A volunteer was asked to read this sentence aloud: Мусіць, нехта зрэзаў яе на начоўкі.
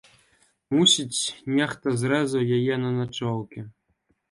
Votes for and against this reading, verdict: 2, 0, accepted